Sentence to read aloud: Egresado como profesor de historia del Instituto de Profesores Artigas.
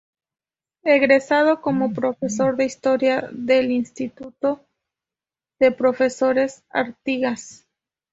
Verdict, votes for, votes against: accepted, 2, 0